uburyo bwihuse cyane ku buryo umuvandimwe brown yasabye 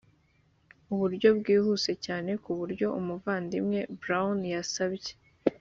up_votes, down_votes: 4, 0